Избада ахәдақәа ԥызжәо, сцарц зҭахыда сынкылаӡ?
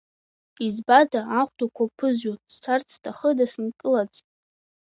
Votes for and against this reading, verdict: 1, 2, rejected